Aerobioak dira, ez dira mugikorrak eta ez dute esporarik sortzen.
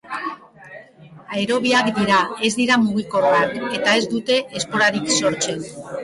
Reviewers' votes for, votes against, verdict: 0, 3, rejected